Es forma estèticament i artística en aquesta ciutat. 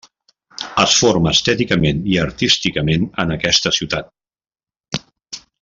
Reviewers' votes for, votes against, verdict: 1, 2, rejected